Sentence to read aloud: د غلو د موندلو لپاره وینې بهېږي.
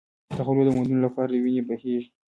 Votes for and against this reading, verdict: 2, 1, accepted